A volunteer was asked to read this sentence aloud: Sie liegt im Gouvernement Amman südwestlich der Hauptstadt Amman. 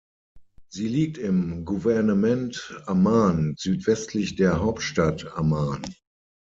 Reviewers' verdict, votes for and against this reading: rejected, 0, 6